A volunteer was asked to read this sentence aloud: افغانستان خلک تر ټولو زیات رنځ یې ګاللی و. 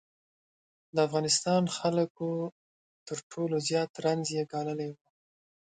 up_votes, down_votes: 0, 3